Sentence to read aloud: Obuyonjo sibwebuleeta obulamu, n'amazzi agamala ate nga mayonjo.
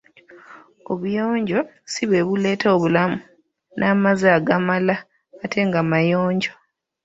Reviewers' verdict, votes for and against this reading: rejected, 1, 2